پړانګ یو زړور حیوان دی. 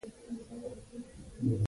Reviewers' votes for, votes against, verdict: 0, 2, rejected